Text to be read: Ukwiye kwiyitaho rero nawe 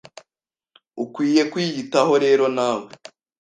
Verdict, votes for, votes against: accepted, 2, 0